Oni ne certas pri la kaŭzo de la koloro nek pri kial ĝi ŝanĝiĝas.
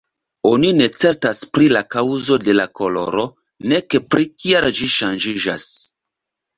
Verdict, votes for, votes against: accepted, 2, 0